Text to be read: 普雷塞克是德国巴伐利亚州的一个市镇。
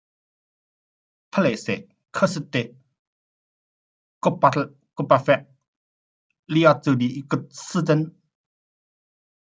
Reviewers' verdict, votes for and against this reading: rejected, 0, 2